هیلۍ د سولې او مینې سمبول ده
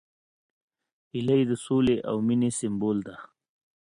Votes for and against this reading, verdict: 2, 0, accepted